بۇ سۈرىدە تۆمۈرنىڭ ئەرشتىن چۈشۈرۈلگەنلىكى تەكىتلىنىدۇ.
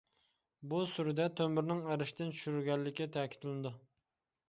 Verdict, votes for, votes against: accepted, 2, 0